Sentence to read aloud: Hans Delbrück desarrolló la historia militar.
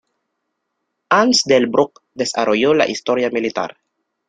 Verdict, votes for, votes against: accepted, 2, 0